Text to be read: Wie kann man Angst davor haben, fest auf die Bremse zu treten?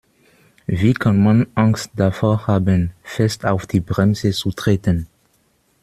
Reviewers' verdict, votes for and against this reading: rejected, 0, 2